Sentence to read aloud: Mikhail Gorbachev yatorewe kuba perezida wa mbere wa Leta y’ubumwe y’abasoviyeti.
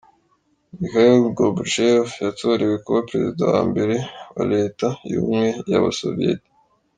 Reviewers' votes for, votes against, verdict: 3, 0, accepted